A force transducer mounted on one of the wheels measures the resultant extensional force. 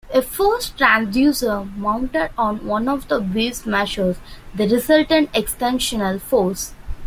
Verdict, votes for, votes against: accepted, 2, 0